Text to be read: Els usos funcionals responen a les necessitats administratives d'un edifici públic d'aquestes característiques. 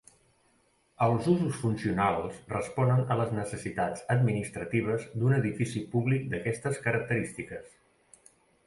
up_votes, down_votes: 2, 0